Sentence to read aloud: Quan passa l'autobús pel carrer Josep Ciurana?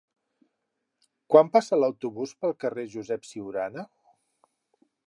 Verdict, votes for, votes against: accepted, 4, 0